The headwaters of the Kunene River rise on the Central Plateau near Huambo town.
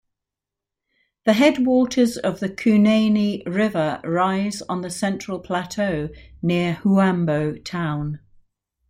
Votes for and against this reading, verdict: 1, 2, rejected